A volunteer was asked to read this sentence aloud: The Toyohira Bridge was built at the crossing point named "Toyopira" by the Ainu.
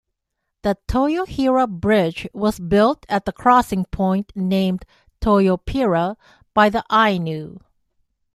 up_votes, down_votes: 2, 0